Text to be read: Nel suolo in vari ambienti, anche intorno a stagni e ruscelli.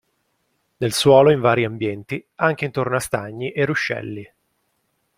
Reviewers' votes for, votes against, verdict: 2, 0, accepted